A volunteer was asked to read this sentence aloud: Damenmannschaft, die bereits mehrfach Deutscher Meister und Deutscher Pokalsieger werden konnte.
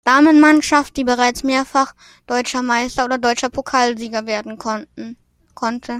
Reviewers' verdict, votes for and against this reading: rejected, 0, 2